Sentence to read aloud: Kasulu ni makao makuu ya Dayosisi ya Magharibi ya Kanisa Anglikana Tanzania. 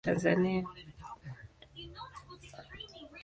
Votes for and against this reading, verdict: 0, 2, rejected